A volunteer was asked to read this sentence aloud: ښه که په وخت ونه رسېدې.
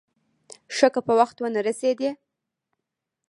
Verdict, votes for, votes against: accepted, 2, 1